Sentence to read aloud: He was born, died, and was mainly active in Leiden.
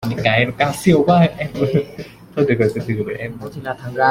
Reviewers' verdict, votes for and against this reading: rejected, 0, 2